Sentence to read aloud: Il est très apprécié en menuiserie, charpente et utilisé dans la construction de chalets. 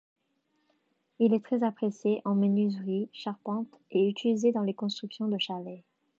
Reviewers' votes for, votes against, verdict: 1, 2, rejected